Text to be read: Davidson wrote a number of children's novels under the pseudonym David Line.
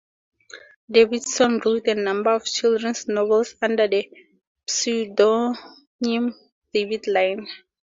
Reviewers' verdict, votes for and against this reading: accepted, 4, 0